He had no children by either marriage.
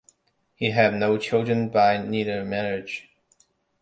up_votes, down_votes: 0, 2